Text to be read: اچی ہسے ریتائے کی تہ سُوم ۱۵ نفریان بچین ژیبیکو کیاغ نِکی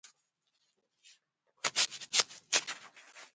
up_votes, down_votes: 0, 2